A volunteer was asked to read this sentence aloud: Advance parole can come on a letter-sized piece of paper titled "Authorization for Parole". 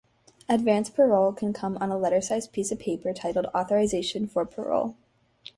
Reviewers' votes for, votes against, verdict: 4, 0, accepted